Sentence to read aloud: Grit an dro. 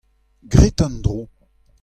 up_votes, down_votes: 2, 0